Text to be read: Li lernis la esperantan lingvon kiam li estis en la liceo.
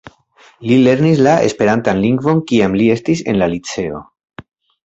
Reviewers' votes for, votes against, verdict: 2, 0, accepted